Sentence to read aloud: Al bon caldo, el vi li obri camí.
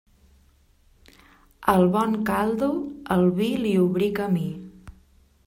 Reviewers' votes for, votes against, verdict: 0, 2, rejected